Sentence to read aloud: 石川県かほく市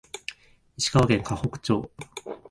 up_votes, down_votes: 1, 2